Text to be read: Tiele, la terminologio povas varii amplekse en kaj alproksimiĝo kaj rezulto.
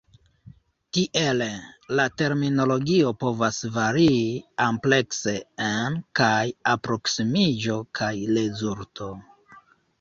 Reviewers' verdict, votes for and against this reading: rejected, 0, 2